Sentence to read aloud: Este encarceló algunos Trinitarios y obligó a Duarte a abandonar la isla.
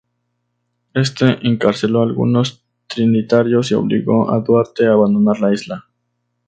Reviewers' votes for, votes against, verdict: 2, 0, accepted